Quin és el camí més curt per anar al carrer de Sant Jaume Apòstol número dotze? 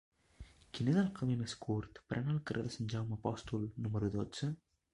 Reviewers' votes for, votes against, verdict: 1, 2, rejected